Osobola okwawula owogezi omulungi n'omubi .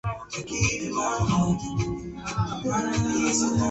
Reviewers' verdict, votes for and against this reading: rejected, 1, 2